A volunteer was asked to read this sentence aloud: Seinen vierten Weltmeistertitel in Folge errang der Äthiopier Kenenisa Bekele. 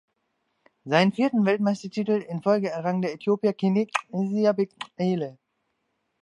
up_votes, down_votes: 0, 2